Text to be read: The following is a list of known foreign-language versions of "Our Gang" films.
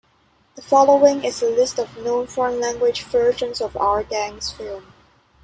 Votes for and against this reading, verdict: 0, 2, rejected